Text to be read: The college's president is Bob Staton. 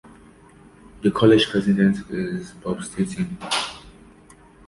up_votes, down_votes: 2, 0